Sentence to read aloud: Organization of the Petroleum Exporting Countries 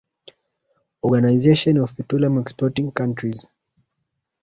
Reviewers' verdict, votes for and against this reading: rejected, 1, 4